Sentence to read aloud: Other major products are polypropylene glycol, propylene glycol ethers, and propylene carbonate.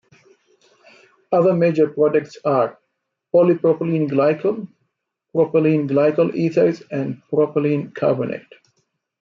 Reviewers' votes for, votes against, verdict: 1, 2, rejected